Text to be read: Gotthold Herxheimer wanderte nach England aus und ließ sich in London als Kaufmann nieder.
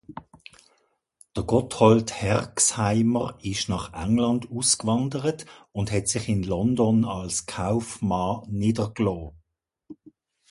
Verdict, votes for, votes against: rejected, 0, 2